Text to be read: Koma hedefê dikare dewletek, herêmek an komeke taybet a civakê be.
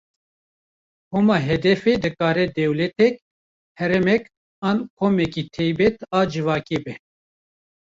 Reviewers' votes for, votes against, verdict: 1, 2, rejected